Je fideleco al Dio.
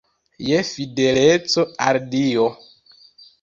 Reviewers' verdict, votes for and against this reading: rejected, 0, 2